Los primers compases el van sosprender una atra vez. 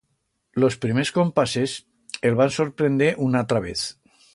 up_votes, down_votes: 1, 2